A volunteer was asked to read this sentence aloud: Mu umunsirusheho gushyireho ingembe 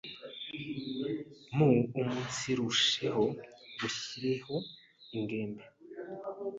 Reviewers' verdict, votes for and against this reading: rejected, 1, 2